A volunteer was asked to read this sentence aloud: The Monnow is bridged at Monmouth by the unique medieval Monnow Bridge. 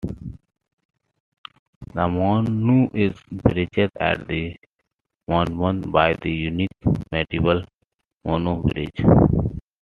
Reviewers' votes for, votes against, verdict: 0, 2, rejected